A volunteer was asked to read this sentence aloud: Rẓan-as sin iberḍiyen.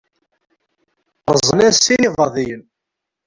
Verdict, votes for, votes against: rejected, 1, 2